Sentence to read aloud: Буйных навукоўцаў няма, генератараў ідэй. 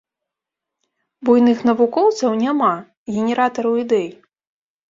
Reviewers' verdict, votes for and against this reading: accepted, 3, 0